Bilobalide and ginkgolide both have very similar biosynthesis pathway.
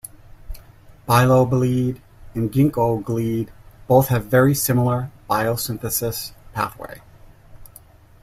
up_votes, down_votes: 1, 2